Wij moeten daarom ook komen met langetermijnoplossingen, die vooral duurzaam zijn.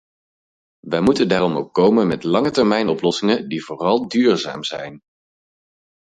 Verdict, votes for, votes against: accepted, 4, 0